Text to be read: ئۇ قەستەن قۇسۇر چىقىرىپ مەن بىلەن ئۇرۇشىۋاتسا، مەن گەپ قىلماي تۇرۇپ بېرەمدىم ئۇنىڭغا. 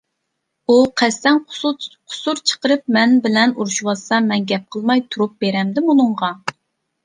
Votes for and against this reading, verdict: 0, 2, rejected